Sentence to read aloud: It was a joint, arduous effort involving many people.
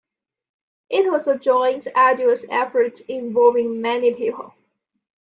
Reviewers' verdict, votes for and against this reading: accepted, 2, 0